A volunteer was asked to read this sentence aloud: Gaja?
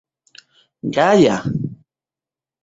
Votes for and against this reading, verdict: 2, 0, accepted